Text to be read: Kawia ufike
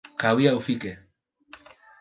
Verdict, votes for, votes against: accepted, 2, 1